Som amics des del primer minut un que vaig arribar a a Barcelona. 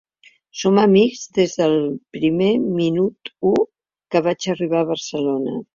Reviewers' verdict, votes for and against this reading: rejected, 0, 2